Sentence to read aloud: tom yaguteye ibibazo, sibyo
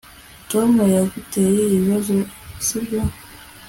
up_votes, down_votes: 1, 2